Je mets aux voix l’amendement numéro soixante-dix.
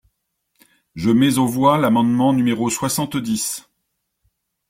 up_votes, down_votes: 2, 0